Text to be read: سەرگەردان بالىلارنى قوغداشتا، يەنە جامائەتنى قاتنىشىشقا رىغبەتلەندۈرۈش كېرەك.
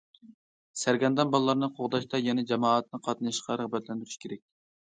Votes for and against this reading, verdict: 1, 2, rejected